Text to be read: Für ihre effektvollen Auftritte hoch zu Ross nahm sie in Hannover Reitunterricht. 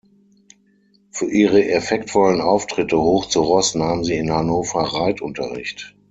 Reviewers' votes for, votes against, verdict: 6, 0, accepted